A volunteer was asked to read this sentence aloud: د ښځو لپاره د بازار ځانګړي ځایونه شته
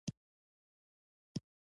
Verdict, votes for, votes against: rejected, 1, 2